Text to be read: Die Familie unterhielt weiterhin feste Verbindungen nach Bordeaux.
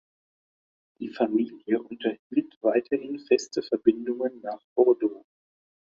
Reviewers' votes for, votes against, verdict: 2, 1, accepted